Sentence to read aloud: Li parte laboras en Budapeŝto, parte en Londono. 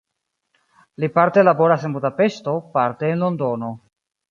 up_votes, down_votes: 2, 1